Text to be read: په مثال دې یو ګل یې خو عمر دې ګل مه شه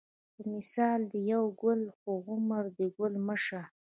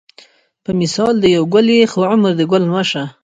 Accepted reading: first